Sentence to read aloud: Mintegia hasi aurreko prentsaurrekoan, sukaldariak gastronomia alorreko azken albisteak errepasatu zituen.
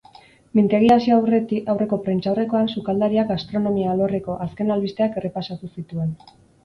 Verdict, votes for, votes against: rejected, 0, 4